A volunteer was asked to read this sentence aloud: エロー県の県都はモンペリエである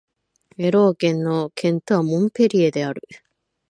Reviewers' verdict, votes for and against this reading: accepted, 7, 1